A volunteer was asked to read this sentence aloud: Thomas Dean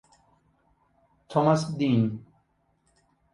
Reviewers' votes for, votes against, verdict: 2, 0, accepted